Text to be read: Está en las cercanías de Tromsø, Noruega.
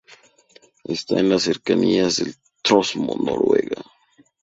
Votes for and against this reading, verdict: 0, 2, rejected